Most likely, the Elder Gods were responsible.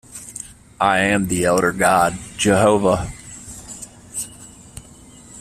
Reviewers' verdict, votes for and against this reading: rejected, 0, 2